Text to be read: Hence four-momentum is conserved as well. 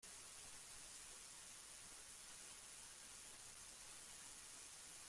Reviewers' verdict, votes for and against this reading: rejected, 0, 2